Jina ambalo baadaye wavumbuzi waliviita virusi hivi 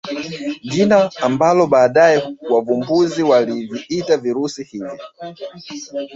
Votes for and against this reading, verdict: 0, 2, rejected